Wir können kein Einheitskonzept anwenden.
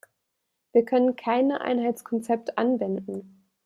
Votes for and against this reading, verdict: 0, 2, rejected